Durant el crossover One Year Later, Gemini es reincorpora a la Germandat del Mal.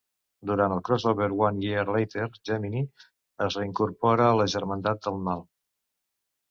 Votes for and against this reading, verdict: 2, 0, accepted